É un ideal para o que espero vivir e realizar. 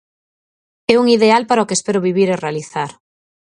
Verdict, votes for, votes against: accepted, 4, 0